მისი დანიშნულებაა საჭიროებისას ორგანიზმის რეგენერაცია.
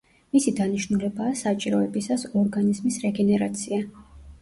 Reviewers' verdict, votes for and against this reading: rejected, 1, 2